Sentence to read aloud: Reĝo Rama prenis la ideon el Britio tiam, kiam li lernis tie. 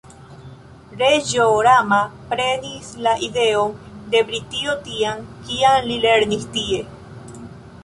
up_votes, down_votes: 0, 2